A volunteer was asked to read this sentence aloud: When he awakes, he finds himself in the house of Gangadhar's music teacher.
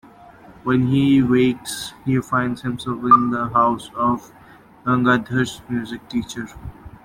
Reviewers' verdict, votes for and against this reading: accepted, 2, 1